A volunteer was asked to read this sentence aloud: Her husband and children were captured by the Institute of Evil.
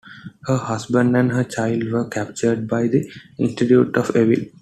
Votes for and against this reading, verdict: 0, 2, rejected